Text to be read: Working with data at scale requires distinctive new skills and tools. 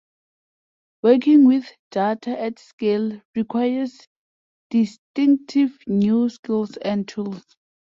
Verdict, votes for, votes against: accepted, 2, 0